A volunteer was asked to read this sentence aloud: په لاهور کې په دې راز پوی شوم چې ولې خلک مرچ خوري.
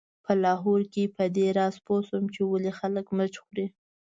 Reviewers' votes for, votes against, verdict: 2, 0, accepted